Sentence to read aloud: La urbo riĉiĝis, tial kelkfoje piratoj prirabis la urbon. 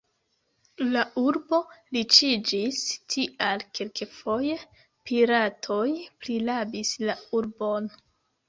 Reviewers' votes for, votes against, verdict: 1, 3, rejected